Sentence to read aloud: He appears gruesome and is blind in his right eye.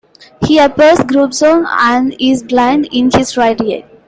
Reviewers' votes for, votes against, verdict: 0, 2, rejected